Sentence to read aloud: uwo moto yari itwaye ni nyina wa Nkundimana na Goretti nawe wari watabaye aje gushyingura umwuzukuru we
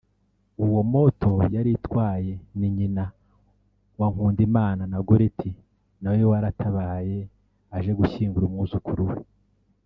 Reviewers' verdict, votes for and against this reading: rejected, 0, 2